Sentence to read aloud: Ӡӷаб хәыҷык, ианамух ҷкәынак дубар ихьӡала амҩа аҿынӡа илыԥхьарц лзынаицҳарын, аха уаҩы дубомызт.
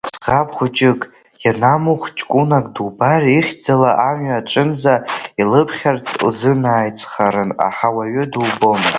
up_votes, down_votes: 2, 1